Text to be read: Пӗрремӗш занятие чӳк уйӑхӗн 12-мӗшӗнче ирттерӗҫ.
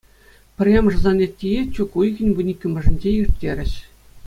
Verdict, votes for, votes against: rejected, 0, 2